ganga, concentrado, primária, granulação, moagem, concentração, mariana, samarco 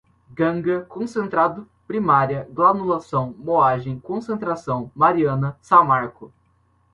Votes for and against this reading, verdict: 2, 0, accepted